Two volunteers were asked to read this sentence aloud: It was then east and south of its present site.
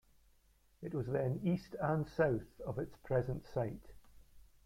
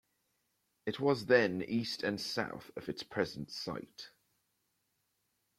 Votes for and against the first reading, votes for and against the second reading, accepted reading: 0, 2, 2, 0, second